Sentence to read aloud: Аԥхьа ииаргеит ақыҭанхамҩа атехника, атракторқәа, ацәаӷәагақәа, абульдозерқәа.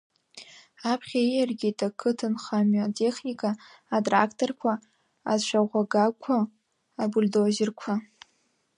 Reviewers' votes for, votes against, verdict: 1, 2, rejected